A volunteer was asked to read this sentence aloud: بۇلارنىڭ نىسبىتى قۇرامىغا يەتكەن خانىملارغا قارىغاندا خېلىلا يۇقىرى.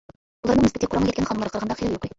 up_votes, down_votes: 0, 2